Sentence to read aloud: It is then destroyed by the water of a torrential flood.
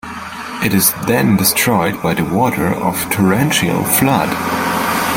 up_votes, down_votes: 0, 2